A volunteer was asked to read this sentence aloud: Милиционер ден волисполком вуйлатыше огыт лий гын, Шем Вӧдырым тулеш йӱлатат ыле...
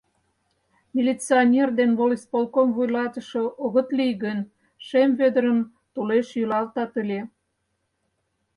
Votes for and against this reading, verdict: 2, 6, rejected